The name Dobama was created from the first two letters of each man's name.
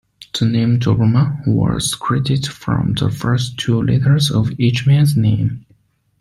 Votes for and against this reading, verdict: 2, 0, accepted